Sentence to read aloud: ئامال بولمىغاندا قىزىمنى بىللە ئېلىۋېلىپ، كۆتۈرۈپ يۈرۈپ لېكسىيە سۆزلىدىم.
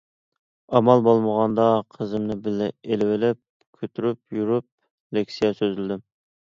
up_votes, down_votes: 2, 0